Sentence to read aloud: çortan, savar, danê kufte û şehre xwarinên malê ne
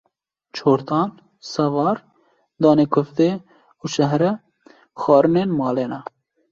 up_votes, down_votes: 2, 0